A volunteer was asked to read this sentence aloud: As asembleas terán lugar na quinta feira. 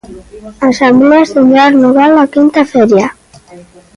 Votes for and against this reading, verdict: 0, 2, rejected